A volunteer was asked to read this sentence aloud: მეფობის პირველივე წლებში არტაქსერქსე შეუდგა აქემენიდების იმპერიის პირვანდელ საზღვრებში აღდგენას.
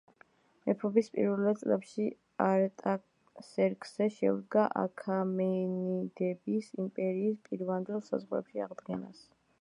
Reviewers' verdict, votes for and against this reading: rejected, 0, 2